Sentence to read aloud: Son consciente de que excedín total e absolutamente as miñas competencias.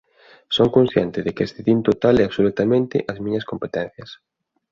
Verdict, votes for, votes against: rejected, 1, 2